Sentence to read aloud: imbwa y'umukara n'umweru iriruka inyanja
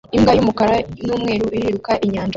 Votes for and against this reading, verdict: 0, 2, rejected